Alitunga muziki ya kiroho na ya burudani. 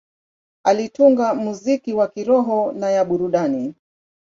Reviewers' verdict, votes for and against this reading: accepted, 2, 0